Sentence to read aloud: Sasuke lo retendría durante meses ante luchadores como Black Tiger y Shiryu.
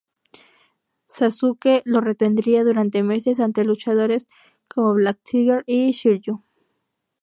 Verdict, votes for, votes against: accepted, 4, 0